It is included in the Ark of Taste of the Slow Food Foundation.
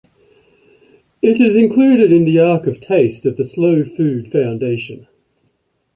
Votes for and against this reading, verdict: 2, 0, accepted